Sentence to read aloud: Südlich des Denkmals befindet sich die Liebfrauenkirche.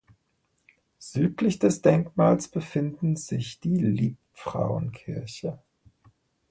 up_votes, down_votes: 0, 2